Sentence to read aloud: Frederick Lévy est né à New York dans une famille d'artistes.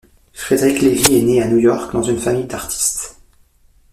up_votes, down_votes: 2, 0